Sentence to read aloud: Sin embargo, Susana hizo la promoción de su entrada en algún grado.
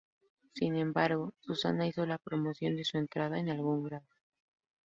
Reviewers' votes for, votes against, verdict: 0, 2, rejected